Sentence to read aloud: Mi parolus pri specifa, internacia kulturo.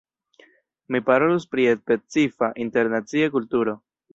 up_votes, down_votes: 1, 2